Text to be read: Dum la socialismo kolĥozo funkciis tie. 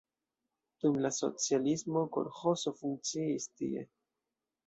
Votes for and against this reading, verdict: 2, 0, accepted